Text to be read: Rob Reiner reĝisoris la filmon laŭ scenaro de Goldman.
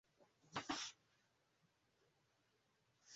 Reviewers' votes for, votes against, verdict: 1, 2, rejected